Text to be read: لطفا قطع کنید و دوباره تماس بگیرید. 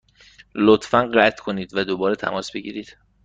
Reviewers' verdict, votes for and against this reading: accepted, 2, 0